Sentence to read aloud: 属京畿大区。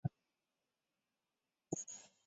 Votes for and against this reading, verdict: 1, 2, rejected